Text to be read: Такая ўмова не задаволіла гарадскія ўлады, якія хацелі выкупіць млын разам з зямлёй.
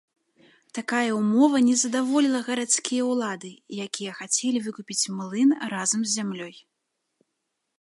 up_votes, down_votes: 2, 0